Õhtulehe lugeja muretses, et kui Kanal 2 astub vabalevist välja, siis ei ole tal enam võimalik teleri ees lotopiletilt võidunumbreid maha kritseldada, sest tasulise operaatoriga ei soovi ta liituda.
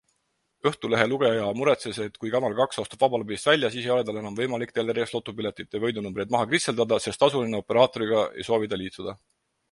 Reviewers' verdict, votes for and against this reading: rejected, 0, 2